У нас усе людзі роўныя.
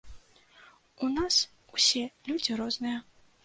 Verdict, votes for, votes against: rejected, 0, 2